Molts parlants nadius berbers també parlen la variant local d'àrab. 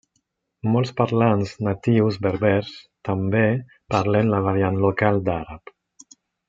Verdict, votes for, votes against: rejected, 1, 2